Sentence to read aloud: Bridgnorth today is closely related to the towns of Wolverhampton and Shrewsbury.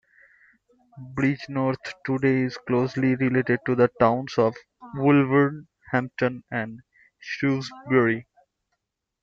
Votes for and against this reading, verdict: 1, 2, rejected